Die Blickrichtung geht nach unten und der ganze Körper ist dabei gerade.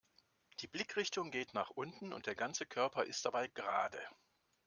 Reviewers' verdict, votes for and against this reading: accepted, 2, 0